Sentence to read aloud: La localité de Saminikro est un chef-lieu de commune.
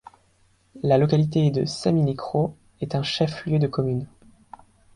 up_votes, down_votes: 2, 0